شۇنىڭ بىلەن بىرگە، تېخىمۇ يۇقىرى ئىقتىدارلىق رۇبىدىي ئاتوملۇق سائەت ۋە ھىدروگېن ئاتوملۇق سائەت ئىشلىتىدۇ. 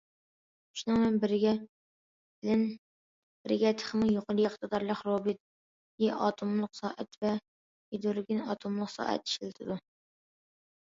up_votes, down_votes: 0, 2